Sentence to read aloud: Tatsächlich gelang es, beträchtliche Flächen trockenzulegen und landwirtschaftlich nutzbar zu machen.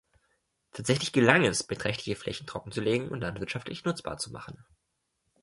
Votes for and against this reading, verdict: 2, 0, accepted